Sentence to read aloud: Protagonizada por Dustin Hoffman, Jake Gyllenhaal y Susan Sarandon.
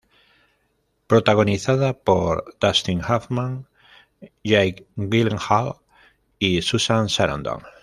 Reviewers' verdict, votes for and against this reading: rejected, 1, 2